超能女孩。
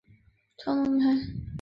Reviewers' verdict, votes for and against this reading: rejected, 0, 3